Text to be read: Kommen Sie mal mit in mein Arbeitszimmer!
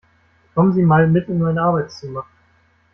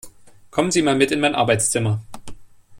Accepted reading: second